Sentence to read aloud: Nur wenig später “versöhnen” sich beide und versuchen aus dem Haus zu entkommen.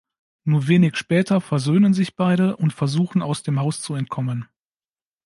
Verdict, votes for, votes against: accepted, 2, 0